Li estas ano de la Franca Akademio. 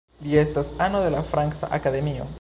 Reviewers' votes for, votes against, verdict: 0, 2, rejected